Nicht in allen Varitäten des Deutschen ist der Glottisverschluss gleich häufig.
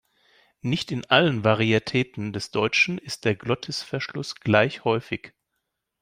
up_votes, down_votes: 1, 2